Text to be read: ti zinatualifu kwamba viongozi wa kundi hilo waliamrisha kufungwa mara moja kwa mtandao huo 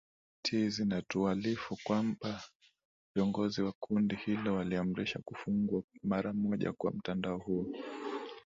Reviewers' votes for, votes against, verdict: 2, 0, accepted